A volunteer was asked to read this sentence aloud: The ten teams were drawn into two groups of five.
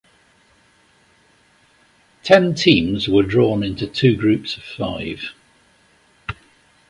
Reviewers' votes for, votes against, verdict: 1, 2, rejected